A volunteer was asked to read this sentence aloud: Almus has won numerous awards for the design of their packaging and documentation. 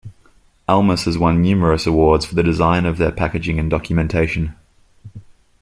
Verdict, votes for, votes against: accepted, 2, 0